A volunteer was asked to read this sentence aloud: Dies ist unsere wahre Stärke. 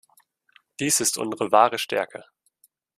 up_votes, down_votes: 1, 2